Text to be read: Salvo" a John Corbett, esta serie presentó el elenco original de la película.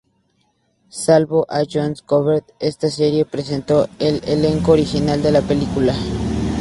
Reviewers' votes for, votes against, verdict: 0, 2, rejected